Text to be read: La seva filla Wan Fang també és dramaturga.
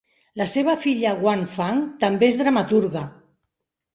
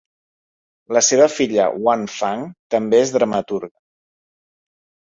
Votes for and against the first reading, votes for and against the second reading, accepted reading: 2, 0, 0, 2, first